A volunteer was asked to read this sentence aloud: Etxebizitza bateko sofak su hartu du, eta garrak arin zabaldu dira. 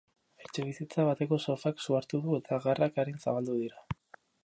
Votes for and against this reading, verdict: 0, 2, rejected